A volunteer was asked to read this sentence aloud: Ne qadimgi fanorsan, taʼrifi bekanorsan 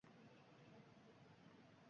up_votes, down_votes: 0, 2